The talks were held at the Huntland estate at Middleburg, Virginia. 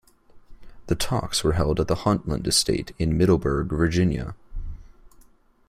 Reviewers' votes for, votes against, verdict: 2, 0, accepted